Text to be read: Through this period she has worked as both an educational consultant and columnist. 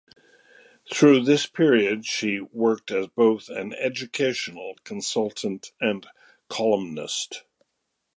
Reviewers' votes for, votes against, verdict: 2, 0, accepted